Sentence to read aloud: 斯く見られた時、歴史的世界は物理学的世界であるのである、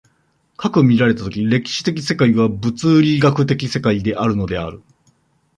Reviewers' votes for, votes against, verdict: 2, 0, accepted